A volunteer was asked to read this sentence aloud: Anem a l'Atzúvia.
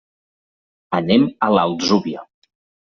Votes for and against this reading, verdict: 2, 0, accepted